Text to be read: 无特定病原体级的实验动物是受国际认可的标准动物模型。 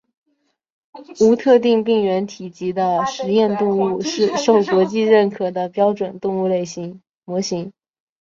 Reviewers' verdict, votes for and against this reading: rejected, 2, 4